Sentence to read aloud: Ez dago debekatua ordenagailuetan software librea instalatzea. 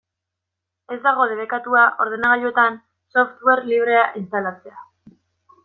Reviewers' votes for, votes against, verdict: 2, 0, accepted